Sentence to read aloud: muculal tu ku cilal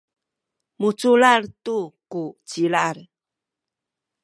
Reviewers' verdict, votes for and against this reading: accepted, 2, 0